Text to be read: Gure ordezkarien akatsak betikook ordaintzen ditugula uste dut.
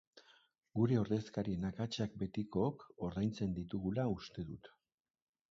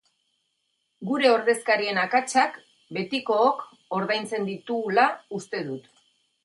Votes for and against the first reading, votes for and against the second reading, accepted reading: 0, 2, 8, 2, second